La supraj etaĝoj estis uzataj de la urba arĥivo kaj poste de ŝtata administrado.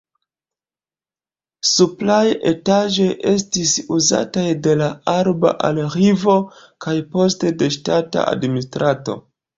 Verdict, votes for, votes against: rejected, 1, 2